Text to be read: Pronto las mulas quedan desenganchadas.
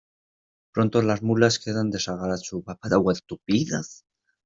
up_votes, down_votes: 0, 2